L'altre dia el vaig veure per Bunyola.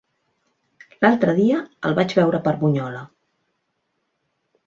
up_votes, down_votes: 3, 0